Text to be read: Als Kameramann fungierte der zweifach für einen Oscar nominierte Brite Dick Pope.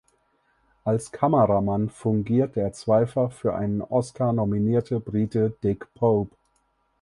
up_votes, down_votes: 2, 6